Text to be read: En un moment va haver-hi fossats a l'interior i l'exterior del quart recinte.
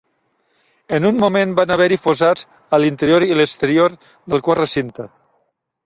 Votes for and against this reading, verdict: 2, 0, accepted